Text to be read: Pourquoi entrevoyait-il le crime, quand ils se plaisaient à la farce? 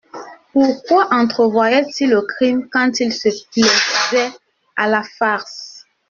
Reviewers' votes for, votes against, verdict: 0, 2, rejected